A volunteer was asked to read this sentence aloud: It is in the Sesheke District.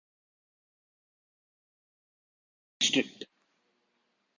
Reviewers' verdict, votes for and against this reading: rejected, 0, 2